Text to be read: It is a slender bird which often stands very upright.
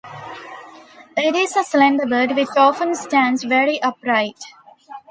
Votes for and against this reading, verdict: 0, 2, rejected